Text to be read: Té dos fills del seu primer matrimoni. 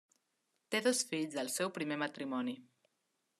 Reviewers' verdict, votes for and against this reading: accepted, 2, 0